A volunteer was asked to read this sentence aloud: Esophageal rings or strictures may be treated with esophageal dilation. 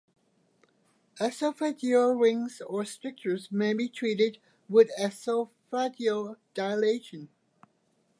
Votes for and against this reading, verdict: 2, 0, accepted